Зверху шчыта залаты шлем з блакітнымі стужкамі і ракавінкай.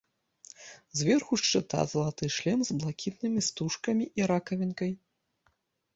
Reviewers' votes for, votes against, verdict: 2, 0, accepted